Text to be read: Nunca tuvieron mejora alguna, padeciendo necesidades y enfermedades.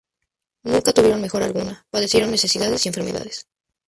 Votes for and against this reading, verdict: 0, 2, rejected